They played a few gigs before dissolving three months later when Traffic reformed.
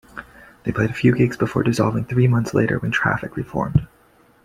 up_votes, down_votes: 2, 0